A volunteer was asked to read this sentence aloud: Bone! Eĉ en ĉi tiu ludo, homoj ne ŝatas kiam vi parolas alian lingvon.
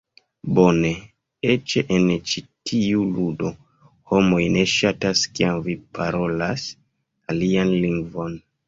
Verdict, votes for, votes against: accepted, 2, 1